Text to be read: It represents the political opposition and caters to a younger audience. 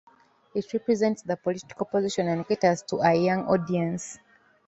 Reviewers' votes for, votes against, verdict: 1, 2, rejected